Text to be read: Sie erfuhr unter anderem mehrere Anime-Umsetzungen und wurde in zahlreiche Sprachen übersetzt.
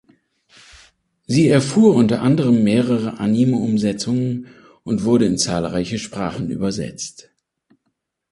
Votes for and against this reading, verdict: 3, 2, accepted